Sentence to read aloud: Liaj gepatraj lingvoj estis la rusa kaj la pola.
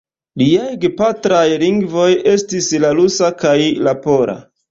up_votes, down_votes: 1, 2